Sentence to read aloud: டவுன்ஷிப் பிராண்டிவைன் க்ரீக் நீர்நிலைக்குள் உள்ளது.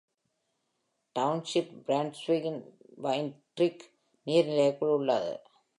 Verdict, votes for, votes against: accepted, 2, 0